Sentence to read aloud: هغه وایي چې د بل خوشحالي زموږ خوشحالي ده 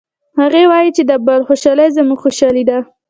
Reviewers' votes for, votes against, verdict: 2, 0, accepted